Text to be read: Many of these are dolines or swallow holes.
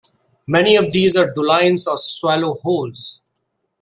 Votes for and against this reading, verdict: 2, 0, accepted